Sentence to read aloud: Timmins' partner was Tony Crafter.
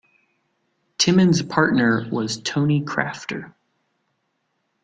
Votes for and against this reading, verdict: 2, 0, accepted